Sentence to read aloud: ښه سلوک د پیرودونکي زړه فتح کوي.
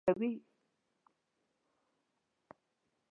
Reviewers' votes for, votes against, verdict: 1, 2, rejected